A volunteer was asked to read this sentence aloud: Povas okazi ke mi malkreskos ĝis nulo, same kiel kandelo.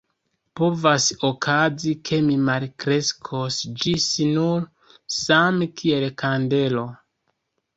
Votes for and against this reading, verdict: 0, 2, rejected